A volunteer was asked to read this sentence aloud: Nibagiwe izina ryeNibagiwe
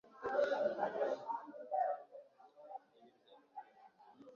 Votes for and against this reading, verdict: 1, 3, rejected